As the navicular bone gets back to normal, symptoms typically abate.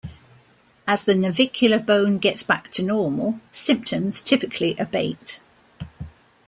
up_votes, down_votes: 2, 0